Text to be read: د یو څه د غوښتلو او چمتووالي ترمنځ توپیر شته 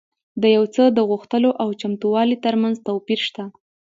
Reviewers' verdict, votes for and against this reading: accepted, 2, 0